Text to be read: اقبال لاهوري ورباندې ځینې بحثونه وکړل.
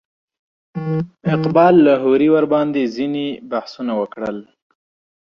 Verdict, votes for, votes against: accepted, 3, 0